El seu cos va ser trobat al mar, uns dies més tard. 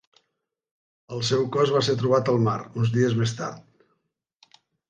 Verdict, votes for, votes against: accepted, 5, 0